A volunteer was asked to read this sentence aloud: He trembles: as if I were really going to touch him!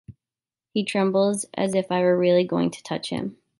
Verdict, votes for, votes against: accepted, 3, 0